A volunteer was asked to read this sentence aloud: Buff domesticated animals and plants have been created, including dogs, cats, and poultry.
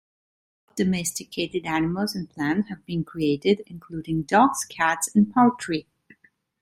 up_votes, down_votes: 0, 2